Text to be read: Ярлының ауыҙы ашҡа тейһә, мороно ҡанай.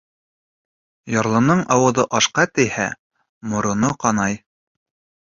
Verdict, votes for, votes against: accepted, 3, 0